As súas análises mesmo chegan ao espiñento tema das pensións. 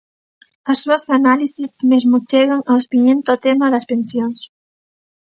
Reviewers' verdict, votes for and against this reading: rejected, 1, 2